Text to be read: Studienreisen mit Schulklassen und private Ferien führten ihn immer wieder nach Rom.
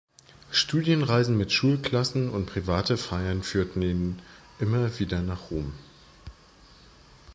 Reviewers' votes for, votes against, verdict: 0, 2, rejected